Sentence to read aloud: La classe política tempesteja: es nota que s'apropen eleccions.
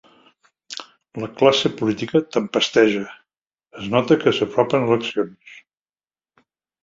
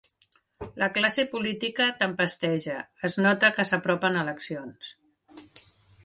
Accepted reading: second